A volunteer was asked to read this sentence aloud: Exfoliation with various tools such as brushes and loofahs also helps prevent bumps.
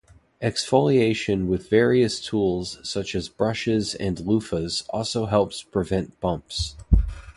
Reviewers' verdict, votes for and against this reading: accepted, 2, 0